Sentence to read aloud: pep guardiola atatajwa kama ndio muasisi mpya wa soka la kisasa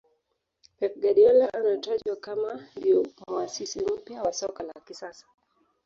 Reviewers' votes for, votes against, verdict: 0, 2, rejected